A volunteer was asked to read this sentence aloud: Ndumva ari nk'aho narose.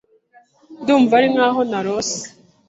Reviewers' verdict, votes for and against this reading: accepted, 2, 0